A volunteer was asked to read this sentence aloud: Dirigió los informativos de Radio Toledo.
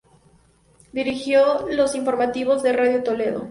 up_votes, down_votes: 2, 0